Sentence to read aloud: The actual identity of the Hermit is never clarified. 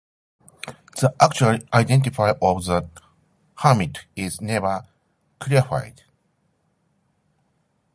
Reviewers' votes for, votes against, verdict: 0, 2, rejected